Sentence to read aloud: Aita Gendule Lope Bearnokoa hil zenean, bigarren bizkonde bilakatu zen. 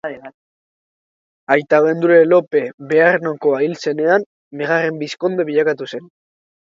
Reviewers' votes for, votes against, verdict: 1, 2, rejected